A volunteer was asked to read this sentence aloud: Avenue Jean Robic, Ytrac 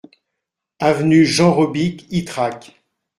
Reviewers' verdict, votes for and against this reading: accepted, 2, 0